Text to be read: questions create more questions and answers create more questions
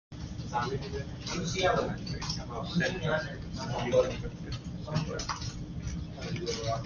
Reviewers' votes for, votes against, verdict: 1, 2, rejected